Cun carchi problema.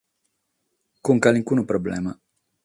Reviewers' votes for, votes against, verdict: 3, 6, rejected